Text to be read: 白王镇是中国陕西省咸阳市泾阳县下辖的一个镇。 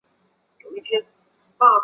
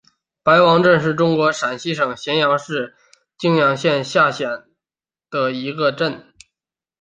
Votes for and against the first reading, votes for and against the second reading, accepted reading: 1, 4, 2, 0, second